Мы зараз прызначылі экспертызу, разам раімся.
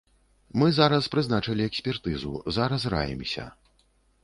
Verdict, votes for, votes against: rejected, 0, 2